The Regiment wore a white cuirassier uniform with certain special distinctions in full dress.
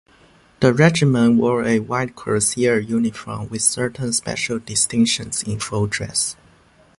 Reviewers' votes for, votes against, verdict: 2, 0, accepted